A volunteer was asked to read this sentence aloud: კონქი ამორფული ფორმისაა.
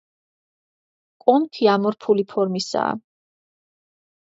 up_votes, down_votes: 2, 0